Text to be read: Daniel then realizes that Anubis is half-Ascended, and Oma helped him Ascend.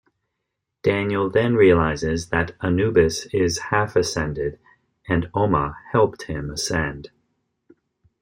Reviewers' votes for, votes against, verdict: 2, 0, accepted